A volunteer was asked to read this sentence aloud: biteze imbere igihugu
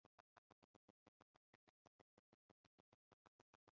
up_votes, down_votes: 0, 2